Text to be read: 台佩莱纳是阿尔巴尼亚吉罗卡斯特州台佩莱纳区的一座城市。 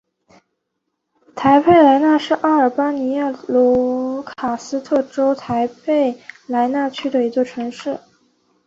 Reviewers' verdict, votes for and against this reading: accepted, 2, 1